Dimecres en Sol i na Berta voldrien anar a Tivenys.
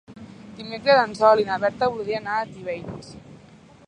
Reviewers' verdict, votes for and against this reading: accepted, 3, 0